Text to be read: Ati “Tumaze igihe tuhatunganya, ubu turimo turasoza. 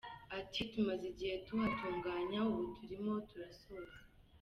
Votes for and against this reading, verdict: 2, 0, accepted